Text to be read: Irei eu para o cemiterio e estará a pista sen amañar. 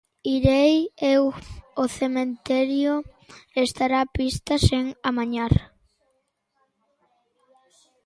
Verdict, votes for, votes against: rejected, 0, 2